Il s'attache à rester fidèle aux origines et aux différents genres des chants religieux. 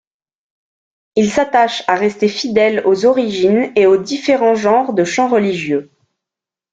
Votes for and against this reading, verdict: 1, 2, rejected